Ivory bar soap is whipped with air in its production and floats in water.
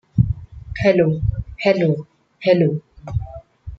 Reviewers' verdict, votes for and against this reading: rejected, 0, 2